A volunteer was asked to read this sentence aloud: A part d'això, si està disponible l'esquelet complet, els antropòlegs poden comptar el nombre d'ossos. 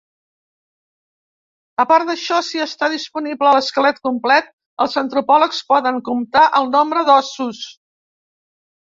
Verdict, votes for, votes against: accepted, 2, 0